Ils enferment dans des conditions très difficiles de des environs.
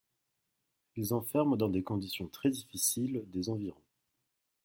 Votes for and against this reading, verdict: 2, 1, accepted